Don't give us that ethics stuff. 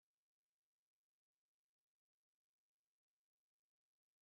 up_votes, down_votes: 0, 3